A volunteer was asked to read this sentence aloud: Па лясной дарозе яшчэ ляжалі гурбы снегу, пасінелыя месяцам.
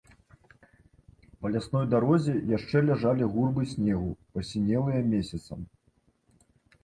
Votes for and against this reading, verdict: 0, 2, rejected